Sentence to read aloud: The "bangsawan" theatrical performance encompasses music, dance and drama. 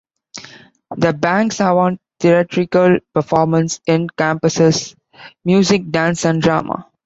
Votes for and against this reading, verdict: 2, 0, accepted